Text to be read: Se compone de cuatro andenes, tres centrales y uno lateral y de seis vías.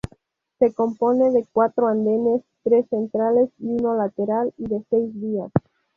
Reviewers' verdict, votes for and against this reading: accepted, 2, 0